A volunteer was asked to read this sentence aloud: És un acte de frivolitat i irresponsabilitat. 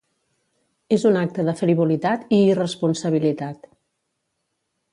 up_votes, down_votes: 2, 0